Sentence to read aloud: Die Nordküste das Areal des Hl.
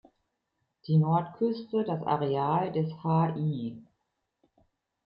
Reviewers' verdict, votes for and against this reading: rejected, 0, 2